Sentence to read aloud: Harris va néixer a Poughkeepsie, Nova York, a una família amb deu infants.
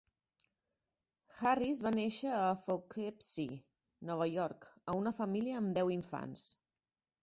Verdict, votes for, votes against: rejected, 1, 2